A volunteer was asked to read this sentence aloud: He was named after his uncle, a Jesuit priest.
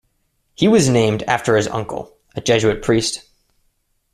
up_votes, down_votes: 2, 0